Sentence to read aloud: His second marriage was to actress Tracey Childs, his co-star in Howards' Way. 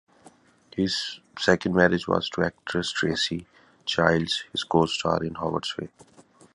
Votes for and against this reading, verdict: 2, 1, accepted